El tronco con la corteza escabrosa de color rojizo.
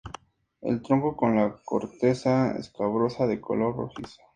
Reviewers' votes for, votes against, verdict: 0, 2, rejected